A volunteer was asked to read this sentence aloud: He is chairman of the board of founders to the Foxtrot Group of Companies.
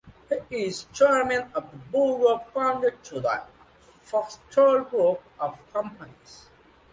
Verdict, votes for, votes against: accepted, 2, 1